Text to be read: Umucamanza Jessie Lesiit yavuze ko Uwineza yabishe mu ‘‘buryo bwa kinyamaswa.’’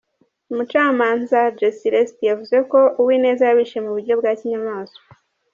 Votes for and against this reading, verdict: 0, 2, rejected